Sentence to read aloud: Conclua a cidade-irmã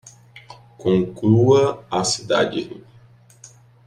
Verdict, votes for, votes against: rejected, 0, 2